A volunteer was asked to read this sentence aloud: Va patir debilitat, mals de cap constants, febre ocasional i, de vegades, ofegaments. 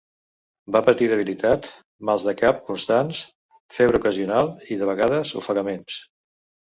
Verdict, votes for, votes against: accepted, 2, 0